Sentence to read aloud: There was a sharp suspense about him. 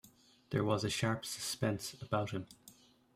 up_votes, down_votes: 1, 2